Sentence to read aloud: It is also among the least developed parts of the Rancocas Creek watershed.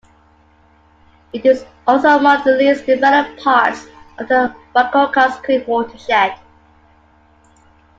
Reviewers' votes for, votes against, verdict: 1, 2, rejected